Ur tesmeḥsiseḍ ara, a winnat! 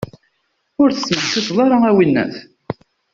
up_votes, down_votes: 2, 0